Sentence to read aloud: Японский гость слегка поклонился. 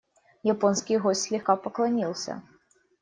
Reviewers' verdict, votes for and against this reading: accepted, 2, 0